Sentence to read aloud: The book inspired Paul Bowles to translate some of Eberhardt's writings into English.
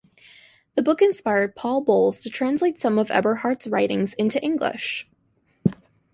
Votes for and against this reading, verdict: 2, 0, accepted